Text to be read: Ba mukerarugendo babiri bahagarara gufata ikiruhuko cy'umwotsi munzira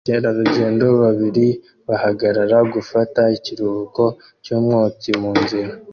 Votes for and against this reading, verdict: 1, 2, rejected